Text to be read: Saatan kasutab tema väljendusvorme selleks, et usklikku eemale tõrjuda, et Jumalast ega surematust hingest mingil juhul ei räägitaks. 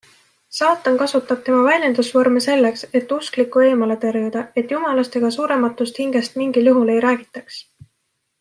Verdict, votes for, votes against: accepted, 2, 0